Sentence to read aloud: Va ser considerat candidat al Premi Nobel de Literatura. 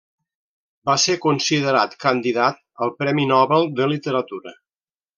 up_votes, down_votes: 1, 2